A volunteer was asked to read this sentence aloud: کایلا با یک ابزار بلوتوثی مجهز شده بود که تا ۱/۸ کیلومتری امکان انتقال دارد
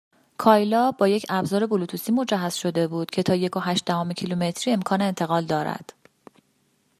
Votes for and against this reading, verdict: 0, 2, rejected